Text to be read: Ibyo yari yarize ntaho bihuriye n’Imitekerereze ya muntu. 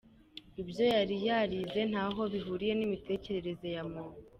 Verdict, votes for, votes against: accepted, 2, 0